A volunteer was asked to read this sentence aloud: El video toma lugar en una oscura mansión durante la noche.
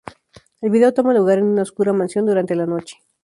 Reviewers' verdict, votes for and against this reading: accepted, 2, 0